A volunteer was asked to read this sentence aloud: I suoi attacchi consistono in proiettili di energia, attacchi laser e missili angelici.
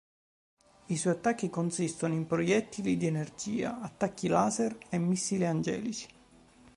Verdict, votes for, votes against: accepted, 4, 0